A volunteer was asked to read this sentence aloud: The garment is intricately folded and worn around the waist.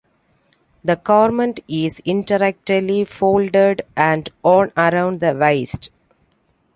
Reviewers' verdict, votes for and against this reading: rejected, 1, 2